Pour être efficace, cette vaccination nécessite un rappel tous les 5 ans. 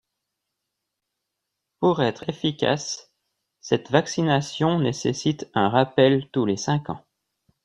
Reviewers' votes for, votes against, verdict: 0, 2, rejected